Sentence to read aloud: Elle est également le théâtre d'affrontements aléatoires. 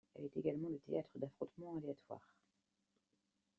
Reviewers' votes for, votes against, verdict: 2, 1, accepted